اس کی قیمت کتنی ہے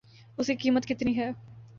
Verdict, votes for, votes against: rejected, 0, 2